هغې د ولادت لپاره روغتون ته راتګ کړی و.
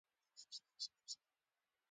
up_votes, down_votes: 1, 2